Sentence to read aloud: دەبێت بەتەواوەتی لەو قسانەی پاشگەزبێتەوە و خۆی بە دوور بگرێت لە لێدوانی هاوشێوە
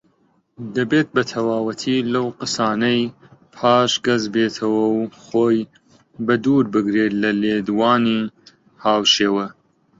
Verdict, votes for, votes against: rejected, 1, 2